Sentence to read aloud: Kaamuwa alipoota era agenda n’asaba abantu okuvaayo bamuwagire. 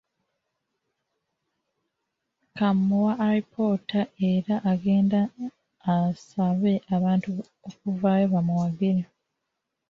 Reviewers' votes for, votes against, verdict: 0, 2, rejected